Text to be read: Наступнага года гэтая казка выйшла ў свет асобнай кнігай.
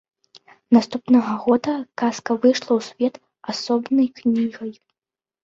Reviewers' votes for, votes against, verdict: 1, 2, rejected